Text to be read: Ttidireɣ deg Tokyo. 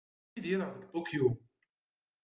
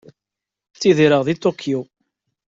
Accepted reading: second